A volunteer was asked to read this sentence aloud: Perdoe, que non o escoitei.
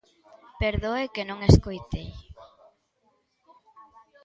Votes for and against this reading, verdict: 0, 2, rejected